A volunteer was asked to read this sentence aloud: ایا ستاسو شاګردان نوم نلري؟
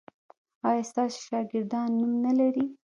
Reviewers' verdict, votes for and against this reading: rejected, 0, 2